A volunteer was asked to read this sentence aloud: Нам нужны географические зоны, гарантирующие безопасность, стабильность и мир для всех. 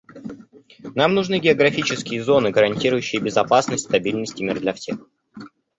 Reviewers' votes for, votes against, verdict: 0, 2, rejected